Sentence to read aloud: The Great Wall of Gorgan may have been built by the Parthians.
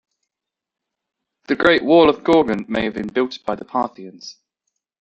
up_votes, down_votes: 1, 2